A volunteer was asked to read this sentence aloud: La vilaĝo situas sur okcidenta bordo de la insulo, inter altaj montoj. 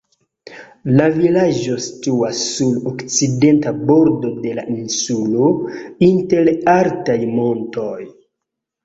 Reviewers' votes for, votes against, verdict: 2, 1, accepted